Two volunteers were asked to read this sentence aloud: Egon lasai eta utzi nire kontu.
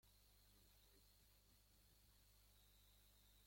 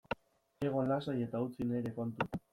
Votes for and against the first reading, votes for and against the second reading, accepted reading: 0, 2, 2, 0, second